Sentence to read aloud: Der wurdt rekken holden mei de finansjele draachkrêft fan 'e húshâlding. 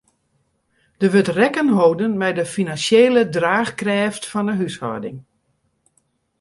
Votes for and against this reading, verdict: 2, 0, accepted